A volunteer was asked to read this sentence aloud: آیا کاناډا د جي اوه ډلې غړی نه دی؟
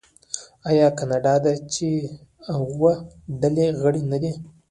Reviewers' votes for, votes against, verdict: 2, 0, accepted